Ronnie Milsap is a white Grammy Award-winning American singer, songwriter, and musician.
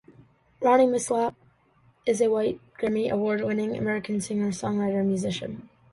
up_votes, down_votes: 2, 1